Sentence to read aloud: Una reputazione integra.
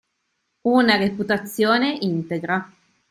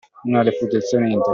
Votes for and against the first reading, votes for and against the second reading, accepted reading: 3, 0, 0, 2, first